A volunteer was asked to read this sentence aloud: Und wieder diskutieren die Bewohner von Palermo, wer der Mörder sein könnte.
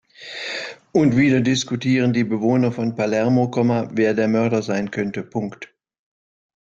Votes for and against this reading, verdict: 0, 2, rejected